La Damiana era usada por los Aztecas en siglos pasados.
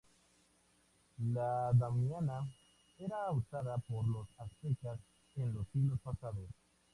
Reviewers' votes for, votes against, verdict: 0, 2, rejected